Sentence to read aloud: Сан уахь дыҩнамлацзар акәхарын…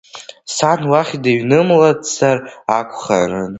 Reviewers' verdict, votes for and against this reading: rejected, 0, 2